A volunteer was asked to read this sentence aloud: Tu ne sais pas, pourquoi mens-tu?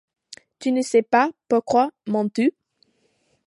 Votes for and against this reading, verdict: 2, 0, accepted